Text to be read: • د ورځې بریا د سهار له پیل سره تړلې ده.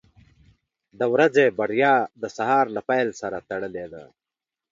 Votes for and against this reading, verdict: 2, 0, accepted